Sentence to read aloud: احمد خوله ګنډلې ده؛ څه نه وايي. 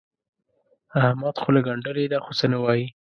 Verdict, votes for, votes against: accepted, 2, 0